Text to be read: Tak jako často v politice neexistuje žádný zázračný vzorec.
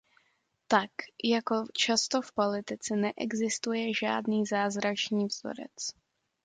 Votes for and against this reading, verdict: 2, 0, accepted